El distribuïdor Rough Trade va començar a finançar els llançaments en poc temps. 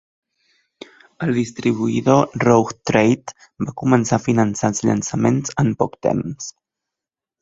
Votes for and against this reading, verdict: 0, 2, rejected